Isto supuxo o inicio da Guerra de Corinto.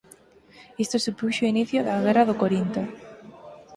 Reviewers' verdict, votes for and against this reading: rejected, 2, 4